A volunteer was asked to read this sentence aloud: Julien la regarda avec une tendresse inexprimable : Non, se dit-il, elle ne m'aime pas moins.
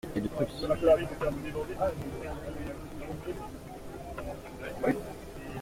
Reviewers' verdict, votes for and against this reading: rejected, 0, 2